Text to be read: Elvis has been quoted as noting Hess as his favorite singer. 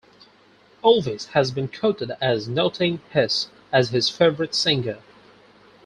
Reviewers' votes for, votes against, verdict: 4, 0, accepted